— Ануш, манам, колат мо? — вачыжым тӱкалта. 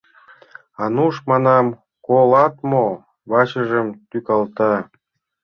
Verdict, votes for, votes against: accepted, 2, 0